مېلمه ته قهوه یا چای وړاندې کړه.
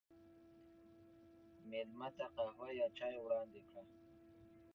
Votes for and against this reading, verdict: 2, 0, accepted